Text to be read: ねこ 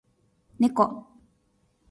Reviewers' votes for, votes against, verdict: 2, 0, accepted